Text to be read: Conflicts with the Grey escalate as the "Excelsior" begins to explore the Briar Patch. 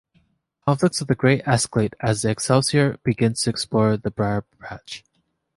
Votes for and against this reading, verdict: 2, 0, accepted